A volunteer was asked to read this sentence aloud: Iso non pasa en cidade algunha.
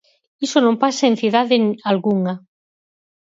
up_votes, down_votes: 2, 4